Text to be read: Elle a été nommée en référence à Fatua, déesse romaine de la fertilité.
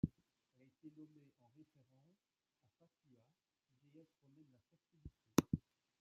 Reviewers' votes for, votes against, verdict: 1, 2, rejected